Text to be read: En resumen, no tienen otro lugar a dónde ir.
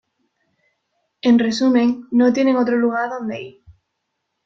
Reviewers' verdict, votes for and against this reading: accepted, 2, 0